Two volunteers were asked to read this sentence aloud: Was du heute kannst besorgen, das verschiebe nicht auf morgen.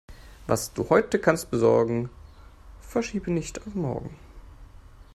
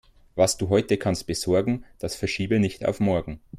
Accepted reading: second